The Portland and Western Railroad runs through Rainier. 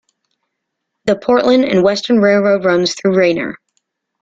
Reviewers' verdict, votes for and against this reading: accepted, 2, 0